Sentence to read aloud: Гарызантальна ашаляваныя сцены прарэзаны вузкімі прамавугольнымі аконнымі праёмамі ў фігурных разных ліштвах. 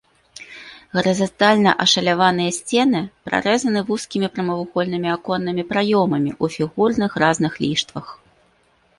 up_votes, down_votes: 2, 1